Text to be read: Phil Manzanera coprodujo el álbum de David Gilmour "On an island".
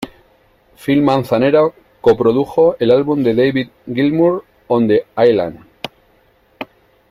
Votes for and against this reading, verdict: 0, 2, rejected